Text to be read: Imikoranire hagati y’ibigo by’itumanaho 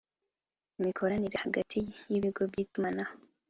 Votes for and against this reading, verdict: 3, 0, accepted